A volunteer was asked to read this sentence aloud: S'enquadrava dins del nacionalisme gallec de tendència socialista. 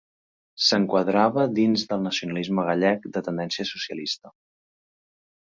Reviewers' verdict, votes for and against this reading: accepted, 4, 0